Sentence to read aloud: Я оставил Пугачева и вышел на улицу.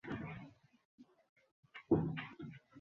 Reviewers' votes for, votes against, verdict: 0, 2, rejected